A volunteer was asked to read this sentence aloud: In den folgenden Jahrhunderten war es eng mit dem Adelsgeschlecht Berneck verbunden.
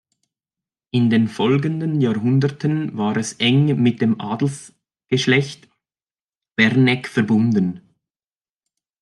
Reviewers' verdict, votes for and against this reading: rejected, 1, 2